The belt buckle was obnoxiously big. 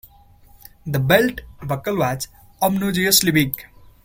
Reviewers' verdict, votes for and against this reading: rejected, 0, 2